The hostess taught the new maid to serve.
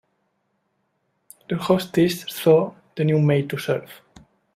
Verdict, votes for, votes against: rejected, 0, 2